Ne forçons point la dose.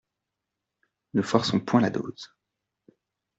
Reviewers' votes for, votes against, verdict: 2, 0, accepted